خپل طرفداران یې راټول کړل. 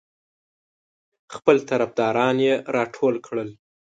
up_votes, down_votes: 2, 0